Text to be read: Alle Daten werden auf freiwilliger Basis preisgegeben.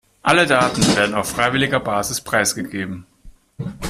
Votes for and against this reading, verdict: 2, 1, accepted